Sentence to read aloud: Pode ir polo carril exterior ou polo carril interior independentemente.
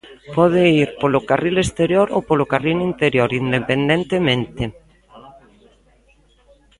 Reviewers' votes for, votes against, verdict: 0, 2, rejected